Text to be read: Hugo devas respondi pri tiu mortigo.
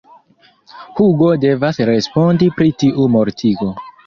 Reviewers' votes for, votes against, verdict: 1, 2, rejected